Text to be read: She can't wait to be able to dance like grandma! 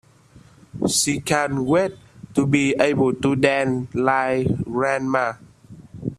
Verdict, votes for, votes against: rejected, 0, 2